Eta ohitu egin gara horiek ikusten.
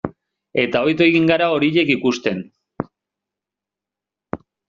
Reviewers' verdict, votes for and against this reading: accepted, 2, 0